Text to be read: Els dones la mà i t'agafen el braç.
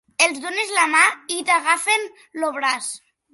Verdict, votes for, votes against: rejected, 1, 2